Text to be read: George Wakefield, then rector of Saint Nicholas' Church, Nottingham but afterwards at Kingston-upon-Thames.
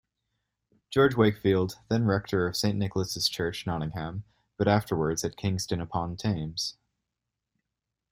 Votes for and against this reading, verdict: 2, 0, accepted